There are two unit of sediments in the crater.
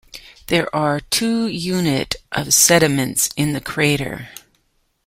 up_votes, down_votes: 2, 1